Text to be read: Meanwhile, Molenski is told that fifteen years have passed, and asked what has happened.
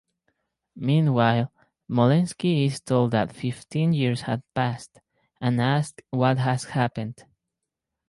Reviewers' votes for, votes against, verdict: 4, 0, accepted